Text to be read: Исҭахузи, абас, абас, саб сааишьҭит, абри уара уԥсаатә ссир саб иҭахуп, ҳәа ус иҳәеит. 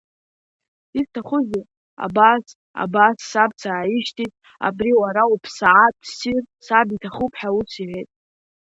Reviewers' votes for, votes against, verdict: 1, 2, rejected